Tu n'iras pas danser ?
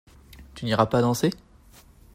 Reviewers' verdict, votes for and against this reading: accepted, 2, 0